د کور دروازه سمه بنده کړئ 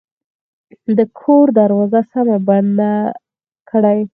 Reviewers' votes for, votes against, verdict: 4, 0, accepted